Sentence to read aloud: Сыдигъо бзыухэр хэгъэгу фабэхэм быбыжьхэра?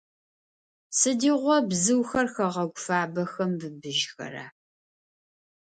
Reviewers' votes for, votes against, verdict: 2, 0, accepted